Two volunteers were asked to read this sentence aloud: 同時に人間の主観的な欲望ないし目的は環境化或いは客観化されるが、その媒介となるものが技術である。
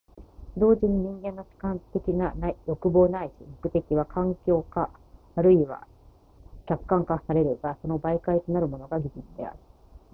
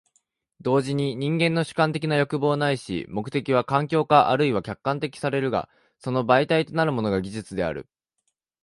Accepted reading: first